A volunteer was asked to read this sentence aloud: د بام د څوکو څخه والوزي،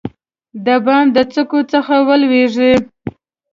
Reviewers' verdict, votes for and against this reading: accepted, 2, 0